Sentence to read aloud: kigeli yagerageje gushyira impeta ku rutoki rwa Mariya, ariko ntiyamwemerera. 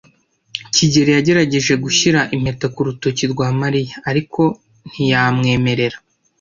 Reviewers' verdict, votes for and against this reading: accepted, 2, 0